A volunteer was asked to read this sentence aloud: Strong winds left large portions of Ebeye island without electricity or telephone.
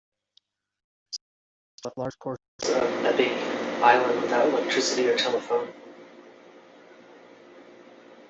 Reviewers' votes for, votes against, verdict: 0, 2, rejected